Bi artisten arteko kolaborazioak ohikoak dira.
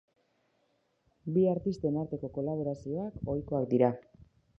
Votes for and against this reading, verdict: 3, 0, accepted